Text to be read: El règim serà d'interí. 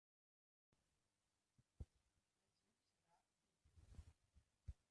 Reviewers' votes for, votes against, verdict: 0, 2, rejected